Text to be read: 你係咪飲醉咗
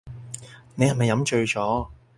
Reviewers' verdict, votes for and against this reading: accepted, 4, 0